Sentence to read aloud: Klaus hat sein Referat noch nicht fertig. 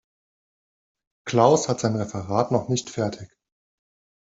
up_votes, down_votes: 2, 0